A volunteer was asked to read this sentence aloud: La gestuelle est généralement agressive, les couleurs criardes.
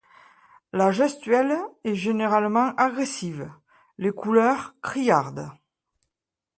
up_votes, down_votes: 2, 0